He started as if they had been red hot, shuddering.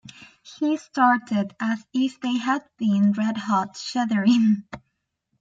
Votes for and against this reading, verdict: 2, 1, accepted